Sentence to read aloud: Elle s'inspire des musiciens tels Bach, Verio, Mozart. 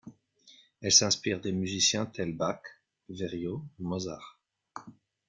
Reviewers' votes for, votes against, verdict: 2, 0, accepted